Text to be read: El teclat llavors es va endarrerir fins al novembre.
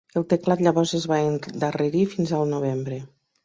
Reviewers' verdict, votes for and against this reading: rejected, 0, 3